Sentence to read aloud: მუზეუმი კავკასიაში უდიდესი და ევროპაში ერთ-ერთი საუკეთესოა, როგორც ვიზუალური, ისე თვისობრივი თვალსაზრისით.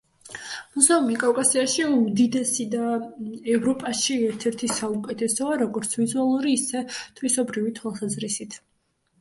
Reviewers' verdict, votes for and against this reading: accepted, 2, 0